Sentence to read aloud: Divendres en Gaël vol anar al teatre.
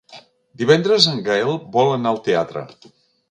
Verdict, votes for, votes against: accepted, 2, 0